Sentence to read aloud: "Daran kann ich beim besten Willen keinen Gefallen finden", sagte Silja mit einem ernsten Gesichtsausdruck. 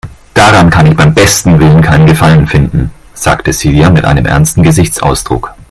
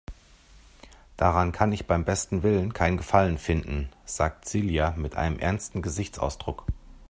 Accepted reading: first